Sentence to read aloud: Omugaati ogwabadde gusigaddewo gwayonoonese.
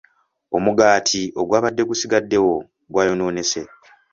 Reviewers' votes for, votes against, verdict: 2, 1, accepted